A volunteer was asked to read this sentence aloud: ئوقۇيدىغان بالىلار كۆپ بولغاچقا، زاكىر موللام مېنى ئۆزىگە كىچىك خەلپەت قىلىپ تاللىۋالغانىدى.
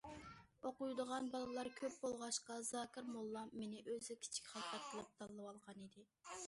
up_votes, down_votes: 2, 0